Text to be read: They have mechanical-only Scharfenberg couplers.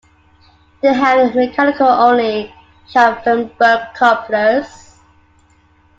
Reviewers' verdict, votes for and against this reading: rejected, 1, 2